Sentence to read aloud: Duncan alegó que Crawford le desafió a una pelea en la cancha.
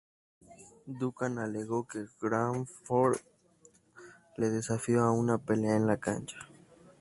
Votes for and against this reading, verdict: 2, 0, accepted